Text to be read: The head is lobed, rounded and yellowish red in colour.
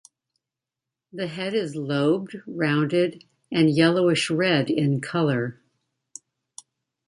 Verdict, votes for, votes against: accepted, 2, 0